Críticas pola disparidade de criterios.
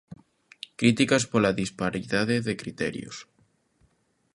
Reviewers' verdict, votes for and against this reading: accepted, 2, 0